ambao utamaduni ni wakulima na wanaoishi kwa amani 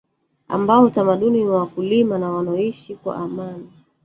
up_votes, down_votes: 1, 2